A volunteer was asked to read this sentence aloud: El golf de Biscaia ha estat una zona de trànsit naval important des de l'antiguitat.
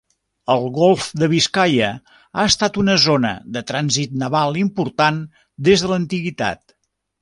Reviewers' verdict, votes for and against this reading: accepted, 2, 0